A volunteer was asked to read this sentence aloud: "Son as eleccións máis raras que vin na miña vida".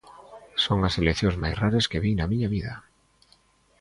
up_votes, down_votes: 1, 2